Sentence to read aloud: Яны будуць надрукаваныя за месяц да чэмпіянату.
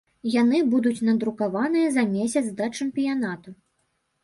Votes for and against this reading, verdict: 2, 0, accepted